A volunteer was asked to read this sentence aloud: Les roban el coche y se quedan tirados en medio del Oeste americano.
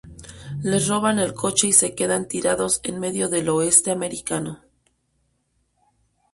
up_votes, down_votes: 2, 0